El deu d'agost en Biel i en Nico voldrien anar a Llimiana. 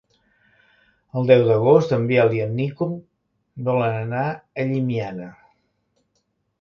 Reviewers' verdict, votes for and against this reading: rejected, 0, 2